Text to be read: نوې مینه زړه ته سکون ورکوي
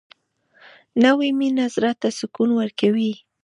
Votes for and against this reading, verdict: 1, 2, rejected